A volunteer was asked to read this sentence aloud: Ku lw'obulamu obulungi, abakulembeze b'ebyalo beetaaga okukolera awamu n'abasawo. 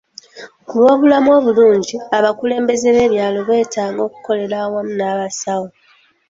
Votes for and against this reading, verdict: 2, 0, accepted